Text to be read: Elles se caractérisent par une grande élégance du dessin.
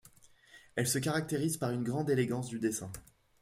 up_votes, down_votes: 2, 0